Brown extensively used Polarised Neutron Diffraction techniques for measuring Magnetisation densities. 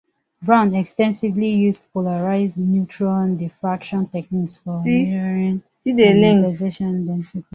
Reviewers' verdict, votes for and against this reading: rejected, 0, 2